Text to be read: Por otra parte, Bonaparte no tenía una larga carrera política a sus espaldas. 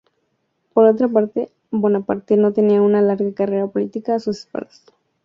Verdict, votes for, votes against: accepted, 2, 0